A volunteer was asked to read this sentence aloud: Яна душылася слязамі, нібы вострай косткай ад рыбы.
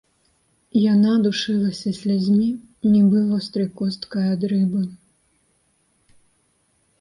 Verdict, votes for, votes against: rejected, 1, 2